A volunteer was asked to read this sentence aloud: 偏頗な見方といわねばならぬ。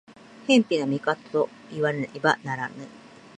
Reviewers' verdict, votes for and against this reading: accepted, 2, 1